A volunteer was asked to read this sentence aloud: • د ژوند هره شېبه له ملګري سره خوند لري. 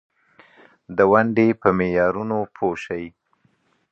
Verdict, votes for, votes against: rejected, 0, 2